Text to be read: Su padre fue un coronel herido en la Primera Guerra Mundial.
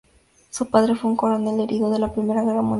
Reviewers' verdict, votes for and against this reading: rejected, 0, 2